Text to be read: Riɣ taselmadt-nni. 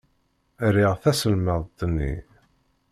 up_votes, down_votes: 2, 0